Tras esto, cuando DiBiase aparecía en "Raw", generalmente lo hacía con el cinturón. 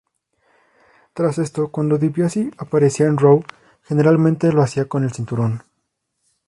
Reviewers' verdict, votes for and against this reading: rejected, 0, 2